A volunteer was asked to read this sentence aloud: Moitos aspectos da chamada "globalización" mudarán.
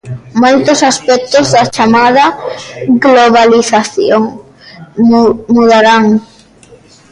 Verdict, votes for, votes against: rejected, 0, 2